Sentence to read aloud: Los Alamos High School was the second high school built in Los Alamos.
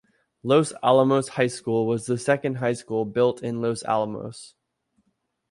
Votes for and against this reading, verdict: 1, 2, rejected